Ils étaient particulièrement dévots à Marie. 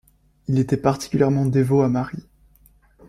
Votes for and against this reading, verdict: 1, 2, rejected